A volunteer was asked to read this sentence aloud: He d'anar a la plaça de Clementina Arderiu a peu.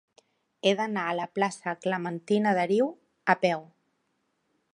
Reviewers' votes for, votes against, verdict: 0, 2, rejected